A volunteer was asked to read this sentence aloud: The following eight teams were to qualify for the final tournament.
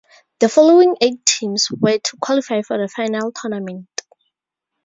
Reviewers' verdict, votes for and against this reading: accepted, 4, 0